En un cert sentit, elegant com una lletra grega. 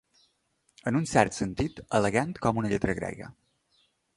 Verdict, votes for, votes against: accepted, 2, 0